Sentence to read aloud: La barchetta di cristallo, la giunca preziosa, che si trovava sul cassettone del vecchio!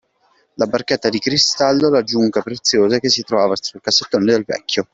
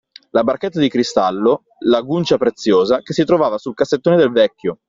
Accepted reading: second